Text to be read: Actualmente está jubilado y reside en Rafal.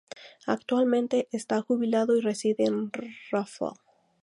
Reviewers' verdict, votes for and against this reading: accepted, 2, 0